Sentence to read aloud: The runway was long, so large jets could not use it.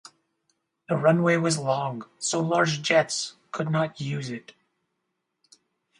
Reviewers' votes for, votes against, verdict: 0, 4, rejected